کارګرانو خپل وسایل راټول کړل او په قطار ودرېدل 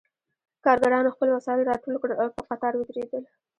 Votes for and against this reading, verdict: 0, 2, rejected